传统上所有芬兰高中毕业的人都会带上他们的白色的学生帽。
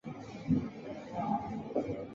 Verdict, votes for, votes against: rejected, 1, 2